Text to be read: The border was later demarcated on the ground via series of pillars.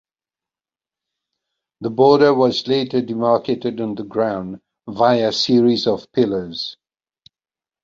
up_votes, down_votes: 1, 2